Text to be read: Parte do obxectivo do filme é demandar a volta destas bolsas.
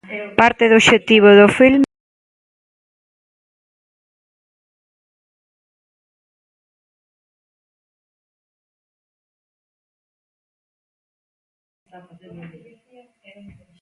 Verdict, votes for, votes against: rejected, 0, 2